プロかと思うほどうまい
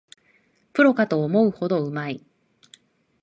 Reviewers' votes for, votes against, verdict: 2, 0, accepted